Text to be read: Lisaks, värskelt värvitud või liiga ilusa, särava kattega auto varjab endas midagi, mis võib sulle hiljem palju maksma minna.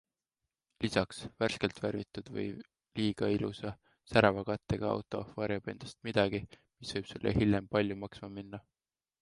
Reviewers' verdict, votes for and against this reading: accepted, 2, 0